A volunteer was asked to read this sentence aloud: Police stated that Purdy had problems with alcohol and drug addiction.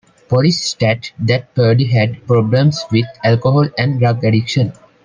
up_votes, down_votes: 0, 2